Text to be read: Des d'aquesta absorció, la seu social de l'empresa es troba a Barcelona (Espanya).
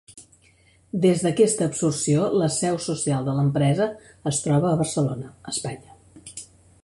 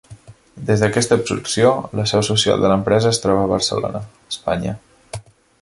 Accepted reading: first